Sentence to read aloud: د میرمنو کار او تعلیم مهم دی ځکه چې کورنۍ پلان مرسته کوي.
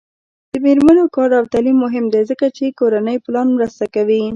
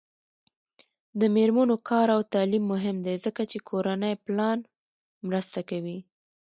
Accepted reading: second